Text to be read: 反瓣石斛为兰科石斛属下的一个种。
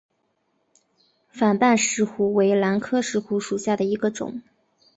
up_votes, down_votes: 5, 0